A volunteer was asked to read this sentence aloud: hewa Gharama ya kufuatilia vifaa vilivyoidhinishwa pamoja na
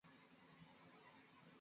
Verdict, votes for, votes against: rejected, 0, 2